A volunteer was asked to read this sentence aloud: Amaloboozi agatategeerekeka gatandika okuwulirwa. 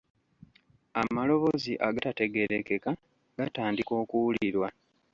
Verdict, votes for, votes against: accepted, 2, 0